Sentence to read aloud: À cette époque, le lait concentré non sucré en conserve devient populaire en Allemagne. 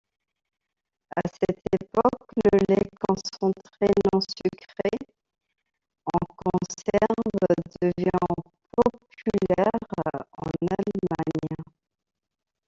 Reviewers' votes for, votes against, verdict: 1, 2, rejected